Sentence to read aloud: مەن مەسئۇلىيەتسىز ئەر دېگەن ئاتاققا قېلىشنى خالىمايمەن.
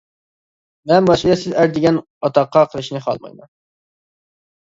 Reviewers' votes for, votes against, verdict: 0, 2, rejected